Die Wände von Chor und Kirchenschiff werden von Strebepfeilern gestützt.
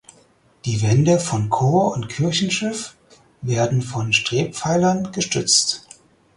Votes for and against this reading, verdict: 0, 4, rejected